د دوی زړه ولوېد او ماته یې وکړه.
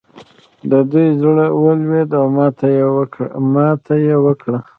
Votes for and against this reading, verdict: 1, 2, rejected